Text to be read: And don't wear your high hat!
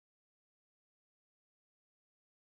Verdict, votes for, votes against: rejected, 0, 2